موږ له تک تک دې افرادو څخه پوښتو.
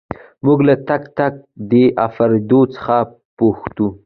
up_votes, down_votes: 2, 1